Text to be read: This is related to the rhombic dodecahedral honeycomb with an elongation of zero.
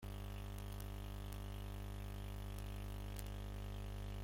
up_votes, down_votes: 0, 2